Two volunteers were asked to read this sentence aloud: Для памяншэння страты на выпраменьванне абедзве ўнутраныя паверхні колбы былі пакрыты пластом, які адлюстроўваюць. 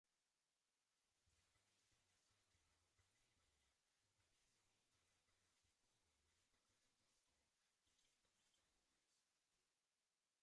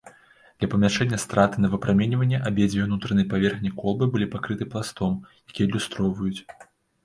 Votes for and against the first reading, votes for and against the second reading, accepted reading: 0, 2, 2, 0, second